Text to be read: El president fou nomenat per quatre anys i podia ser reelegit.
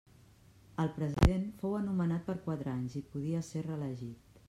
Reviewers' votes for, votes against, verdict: 1, 2, rejected